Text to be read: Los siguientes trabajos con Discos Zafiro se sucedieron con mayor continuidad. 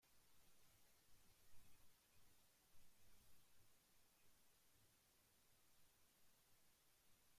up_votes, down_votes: 0, 2